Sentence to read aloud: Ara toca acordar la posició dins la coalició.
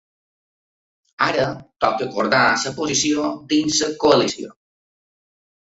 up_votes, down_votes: 1, 2